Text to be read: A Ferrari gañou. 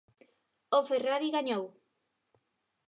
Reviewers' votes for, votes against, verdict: 1, 2, rejected